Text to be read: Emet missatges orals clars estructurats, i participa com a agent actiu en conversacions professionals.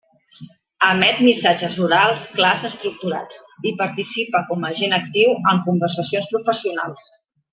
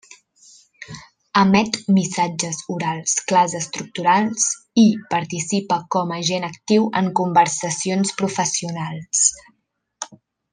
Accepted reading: first